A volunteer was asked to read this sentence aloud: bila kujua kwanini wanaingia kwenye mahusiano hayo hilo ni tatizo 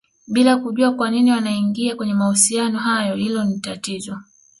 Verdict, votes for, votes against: accepted, 2, 0